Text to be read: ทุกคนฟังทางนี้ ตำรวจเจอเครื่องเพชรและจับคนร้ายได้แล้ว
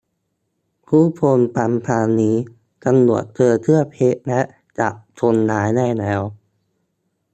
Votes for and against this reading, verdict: 0, 2, rejected